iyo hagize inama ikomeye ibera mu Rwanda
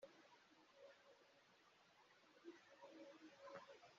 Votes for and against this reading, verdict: 0, 3, rejected